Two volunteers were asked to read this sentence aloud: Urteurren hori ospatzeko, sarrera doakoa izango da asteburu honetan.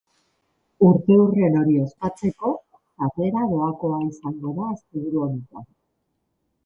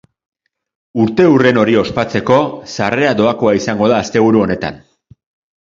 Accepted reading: second